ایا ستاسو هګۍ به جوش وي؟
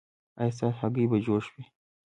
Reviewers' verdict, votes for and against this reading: accepted, 2, 0